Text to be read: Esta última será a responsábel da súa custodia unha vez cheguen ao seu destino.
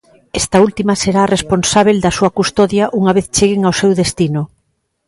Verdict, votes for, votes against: accepted, 2, 0